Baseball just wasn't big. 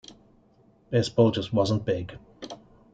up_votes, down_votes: 2, 0